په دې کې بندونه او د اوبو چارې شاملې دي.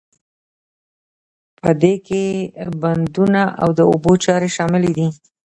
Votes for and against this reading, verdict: 0, 2, rejected